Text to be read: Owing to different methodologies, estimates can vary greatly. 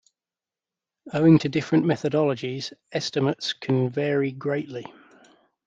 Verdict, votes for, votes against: accepted, 2, 0